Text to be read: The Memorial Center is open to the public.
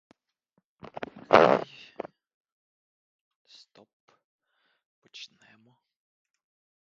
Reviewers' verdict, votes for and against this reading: rejected, 0, 3